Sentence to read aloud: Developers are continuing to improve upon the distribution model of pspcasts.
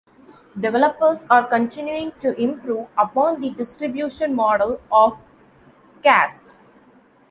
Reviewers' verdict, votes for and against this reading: rejected, 1, 2